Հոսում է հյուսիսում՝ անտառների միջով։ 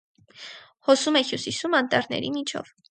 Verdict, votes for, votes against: accepted, 4, 0